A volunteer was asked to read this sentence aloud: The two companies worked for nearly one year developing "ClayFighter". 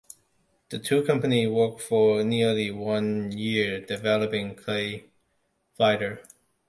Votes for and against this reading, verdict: 1, 2, rejected